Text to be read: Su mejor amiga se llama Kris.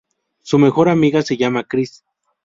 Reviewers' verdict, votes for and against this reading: accepted, 2, 0